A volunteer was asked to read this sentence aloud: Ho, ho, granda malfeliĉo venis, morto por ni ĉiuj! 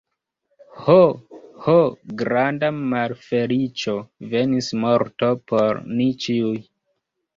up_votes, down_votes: 1, 3